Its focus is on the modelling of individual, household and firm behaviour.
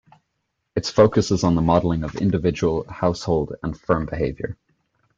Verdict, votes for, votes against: accepted, 3, 0